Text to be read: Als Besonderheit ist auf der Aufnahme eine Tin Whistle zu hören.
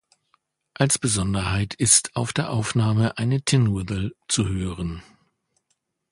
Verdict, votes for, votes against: rejected, 0, 2